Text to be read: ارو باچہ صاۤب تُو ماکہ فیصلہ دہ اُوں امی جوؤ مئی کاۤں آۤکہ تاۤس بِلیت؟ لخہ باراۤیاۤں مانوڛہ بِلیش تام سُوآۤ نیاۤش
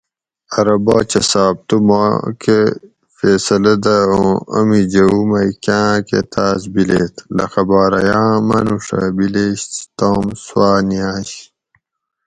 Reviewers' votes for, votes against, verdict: 4, 0, accepted